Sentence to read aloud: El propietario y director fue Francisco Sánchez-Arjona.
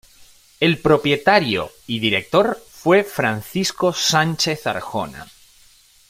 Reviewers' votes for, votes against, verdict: 2, 0, accepted